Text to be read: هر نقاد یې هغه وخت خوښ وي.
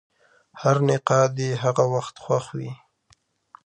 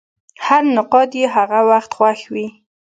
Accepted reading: first